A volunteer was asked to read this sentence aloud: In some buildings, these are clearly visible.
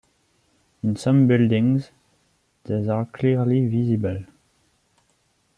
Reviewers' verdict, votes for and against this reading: rejected, 1, 2